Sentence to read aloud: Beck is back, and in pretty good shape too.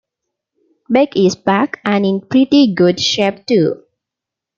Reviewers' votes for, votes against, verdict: 2, 0, accepted